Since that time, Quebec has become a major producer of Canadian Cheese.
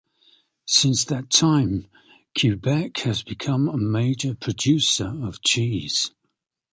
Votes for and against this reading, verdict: 0, 2, rejected